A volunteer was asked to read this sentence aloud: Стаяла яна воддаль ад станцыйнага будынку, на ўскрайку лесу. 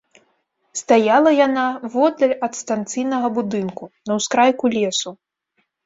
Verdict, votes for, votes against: accepted, 3, 0